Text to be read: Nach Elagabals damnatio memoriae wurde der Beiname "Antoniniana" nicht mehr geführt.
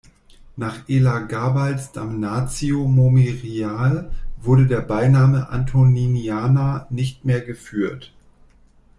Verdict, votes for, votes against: rejected, 0, 2